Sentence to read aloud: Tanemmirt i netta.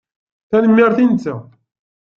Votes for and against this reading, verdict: 2, 0, accepted